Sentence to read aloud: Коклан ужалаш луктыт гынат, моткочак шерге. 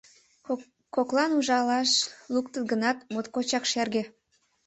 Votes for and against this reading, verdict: 1, 2, rejected